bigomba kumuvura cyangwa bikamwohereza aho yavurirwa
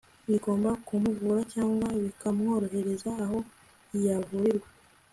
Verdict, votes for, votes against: accepted, 2, 0